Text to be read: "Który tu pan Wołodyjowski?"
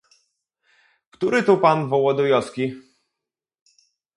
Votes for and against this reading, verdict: 2, 0, accepted